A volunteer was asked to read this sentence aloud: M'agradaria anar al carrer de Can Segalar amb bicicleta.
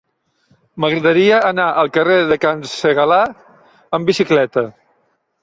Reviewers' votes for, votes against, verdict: 3, 0, accepted